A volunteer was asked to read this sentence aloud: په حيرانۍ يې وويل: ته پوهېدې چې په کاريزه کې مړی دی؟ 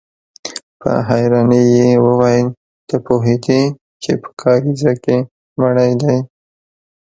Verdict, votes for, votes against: accepted, 2, 0